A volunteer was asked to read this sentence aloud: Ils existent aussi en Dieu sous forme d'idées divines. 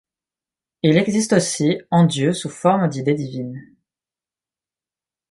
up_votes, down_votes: 2, 0